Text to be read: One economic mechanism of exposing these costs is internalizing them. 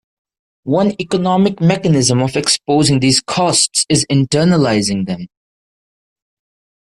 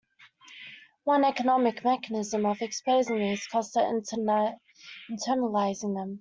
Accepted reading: first